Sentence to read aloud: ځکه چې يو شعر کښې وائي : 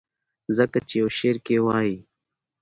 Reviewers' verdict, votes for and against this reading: rejected, 0, 2